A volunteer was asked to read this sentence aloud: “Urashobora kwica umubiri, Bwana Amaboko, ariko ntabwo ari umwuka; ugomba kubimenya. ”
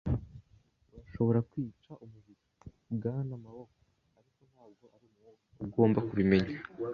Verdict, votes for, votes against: rejected, 1, 2